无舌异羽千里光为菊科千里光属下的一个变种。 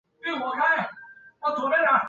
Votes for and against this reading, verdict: 0, 3, rejected